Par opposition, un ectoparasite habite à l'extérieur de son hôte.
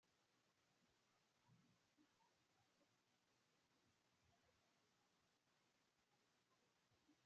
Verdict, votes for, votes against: rejected, 0, 2